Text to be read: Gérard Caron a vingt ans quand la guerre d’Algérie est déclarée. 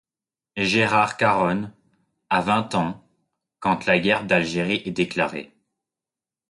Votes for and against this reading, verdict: 1, 2, rejected